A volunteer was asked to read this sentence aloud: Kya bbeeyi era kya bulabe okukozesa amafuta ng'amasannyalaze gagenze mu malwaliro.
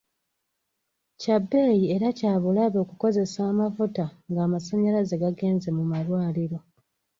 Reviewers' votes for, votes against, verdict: 3, 0, accepted